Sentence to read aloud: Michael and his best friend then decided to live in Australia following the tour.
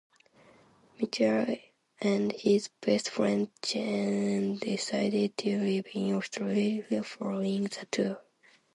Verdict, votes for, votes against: accepted, 2, 0